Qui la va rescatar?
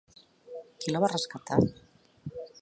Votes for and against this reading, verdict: 2, 0, accepted